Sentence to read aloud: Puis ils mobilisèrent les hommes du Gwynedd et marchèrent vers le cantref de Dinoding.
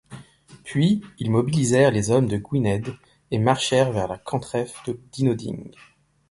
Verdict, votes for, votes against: rejected, 1, 2